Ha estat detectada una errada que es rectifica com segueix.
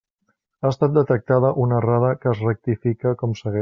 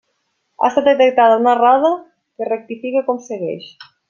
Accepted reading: second